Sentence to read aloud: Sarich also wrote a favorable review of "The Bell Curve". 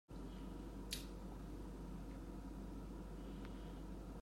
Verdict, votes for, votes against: rejected, 0, 2